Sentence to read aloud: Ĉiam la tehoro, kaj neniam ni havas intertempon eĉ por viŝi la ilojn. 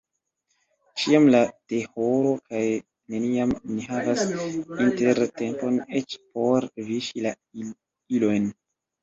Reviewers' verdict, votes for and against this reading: rejected, 1, 2